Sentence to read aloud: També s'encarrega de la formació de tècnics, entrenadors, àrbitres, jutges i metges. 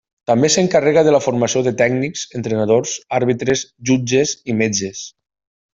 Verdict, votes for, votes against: accepted, 2, 0